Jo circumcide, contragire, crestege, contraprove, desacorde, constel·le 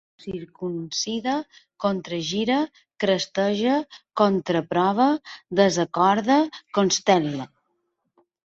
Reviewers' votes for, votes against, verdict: 1, 2, rejected